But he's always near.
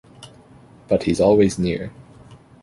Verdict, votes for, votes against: accepted, 2, 0